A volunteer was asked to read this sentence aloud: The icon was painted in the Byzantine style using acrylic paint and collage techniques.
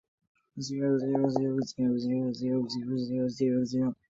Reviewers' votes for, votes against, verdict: 0, 2, rejected